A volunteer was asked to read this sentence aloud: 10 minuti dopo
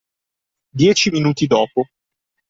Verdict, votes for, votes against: rejected, 0, 2